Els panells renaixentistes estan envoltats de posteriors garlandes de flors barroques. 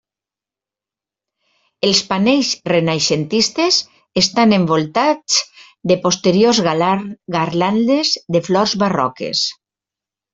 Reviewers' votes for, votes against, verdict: 1, 2, rejected